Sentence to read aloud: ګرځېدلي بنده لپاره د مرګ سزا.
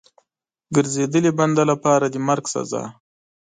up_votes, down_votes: 2, 0